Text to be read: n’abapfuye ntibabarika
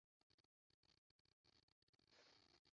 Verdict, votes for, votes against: rejected, 0, 2